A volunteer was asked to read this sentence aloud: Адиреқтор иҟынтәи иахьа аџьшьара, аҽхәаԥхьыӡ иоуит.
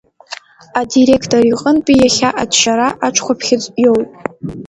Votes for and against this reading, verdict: 1, 2, rejected